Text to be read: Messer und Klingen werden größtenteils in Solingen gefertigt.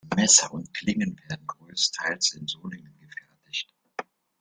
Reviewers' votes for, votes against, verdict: 1, 2, rejected